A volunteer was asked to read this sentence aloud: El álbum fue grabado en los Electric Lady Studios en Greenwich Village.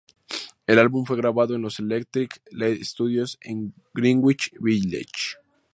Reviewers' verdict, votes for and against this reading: rejected, 0, 2